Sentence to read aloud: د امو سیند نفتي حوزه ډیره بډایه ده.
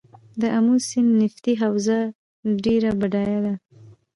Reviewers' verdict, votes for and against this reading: rejected, 1, 2